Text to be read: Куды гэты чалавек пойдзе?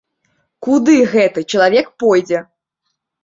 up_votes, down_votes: 2, 0